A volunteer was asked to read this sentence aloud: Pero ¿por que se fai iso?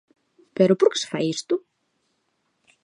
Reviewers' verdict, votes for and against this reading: rejected, 0, 2